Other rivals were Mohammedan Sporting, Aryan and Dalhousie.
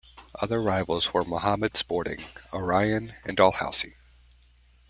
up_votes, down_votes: 1, 2